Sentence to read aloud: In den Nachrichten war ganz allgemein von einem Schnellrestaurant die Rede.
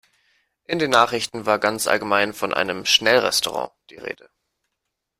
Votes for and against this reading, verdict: 2, 0, accepted